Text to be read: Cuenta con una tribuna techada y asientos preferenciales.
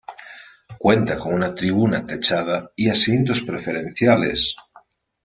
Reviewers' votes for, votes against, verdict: 2, 0, accepted